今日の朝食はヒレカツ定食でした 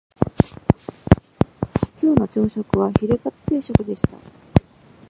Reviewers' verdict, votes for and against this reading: rejected, 0, 2